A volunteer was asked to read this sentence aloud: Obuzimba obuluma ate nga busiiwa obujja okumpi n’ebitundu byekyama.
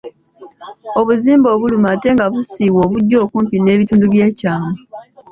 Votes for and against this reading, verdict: 2, 0, accepted